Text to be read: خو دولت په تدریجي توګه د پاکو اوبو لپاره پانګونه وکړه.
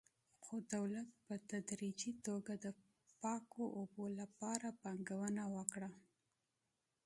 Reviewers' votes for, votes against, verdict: 2, 0, accepted